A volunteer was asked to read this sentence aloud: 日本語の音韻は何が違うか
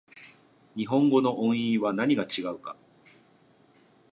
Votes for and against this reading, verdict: 1, 2, rejected